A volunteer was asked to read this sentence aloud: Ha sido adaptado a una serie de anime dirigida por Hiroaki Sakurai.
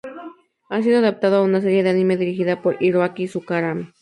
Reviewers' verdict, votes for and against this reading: rejected, 0, 2